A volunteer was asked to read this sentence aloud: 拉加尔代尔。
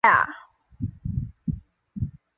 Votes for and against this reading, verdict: 0, 6, rejected